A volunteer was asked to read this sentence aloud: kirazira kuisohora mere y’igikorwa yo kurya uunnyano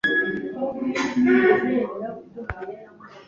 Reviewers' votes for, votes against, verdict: 0, 2, rejected